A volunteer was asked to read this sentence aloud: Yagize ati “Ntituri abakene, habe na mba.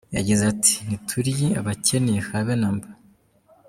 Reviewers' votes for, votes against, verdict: 2, 0, accepted